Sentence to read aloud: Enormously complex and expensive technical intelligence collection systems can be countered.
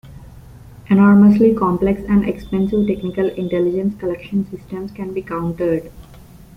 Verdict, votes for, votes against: accepted, 2, 0